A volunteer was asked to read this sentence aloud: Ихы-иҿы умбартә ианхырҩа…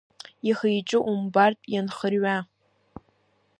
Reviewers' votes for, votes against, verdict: 1, 2, rejected